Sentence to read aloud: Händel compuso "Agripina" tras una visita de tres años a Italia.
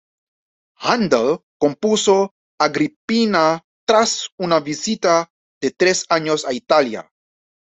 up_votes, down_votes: 2, 0